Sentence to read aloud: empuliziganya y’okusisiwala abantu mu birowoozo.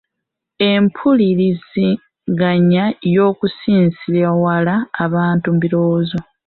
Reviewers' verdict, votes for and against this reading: rejected, 1, 2